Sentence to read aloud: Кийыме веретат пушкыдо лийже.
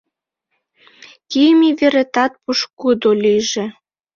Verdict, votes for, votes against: accepted, 2, 1